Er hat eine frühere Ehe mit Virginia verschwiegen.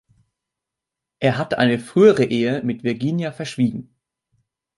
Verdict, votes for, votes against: accepted, 2, 1